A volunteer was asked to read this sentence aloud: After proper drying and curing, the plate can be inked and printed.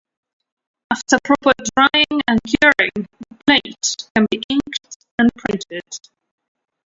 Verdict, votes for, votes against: rejected, 1, 2